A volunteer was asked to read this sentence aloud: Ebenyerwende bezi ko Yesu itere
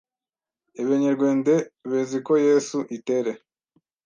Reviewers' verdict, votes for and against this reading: rejected, 1, 2